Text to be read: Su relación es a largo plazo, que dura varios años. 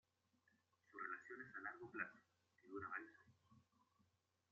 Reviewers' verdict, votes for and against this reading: rejected, 1, 2